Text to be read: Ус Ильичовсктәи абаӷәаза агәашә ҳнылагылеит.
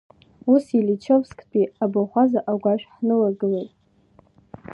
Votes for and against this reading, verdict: 1, 2, rejected